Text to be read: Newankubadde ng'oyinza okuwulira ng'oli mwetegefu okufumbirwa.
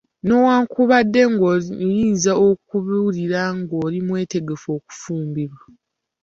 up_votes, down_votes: 2, 0